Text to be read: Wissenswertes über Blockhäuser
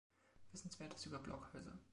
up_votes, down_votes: 2, 1